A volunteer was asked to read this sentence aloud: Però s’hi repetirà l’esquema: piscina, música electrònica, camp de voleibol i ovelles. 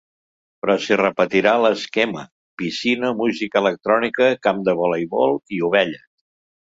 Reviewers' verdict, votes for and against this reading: accepted, 2, 0